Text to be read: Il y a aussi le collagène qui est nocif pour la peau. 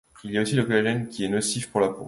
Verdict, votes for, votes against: rejected, 0, 2